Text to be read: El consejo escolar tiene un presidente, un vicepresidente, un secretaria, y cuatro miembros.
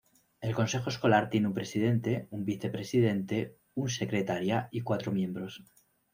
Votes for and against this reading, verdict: 1, 2, rejected